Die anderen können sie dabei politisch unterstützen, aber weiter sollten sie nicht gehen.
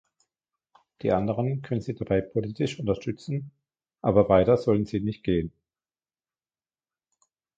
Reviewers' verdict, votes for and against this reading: accepted, 2, 1